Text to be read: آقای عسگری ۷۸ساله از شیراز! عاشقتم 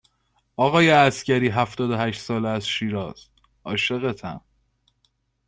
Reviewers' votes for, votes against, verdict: 0, 2, rejected